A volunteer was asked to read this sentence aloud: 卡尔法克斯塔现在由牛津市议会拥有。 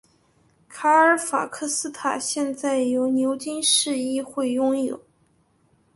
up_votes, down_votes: 3, 0